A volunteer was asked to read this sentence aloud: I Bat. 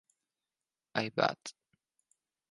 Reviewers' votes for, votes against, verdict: 4, 0, accepted